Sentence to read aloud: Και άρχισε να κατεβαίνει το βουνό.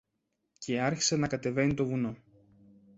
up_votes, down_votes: 2, 0